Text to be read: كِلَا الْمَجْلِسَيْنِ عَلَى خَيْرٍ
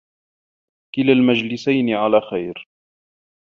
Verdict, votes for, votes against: accepted, 2, 0